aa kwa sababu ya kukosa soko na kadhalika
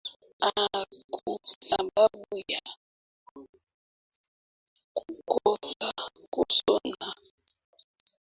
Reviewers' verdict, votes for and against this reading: rejected, 0, 2